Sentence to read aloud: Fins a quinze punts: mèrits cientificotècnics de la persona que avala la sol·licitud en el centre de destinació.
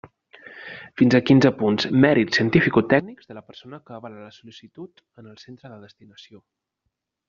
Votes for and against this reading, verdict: 1, 2, rejected